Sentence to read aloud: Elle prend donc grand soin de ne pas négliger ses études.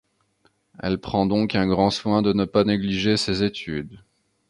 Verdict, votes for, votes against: accepted, 2, 0